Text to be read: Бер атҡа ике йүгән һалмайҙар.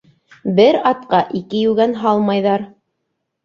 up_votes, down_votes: 2, 0